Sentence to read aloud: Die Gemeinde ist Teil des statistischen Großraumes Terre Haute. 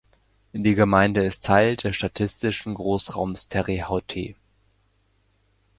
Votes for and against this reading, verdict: 0, 2, rejected